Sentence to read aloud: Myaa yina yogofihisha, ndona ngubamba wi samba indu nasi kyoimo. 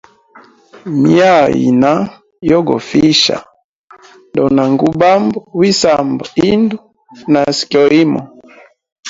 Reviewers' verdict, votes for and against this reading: accepted, 2, 0